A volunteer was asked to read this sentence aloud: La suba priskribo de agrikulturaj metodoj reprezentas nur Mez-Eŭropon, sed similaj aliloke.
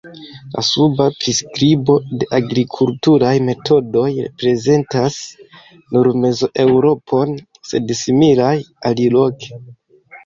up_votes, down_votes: 2, 0